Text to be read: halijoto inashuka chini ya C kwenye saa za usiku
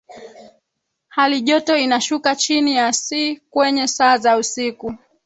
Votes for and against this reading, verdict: 2, 3, rejected